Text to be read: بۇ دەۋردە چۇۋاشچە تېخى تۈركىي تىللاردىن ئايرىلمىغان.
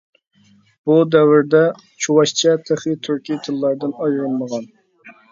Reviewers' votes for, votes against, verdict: 2, 1, accepted